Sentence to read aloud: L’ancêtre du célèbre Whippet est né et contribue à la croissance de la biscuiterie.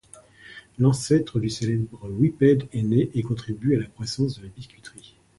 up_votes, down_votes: 2, 1